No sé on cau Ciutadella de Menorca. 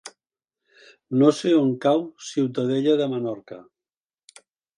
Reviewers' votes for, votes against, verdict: 2, 0, accepted